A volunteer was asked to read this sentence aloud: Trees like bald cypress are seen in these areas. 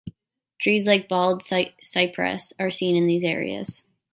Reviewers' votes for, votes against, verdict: 0, 2, rejected